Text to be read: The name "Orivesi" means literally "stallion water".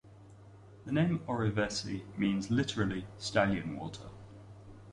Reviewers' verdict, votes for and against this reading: rejected, 0, 2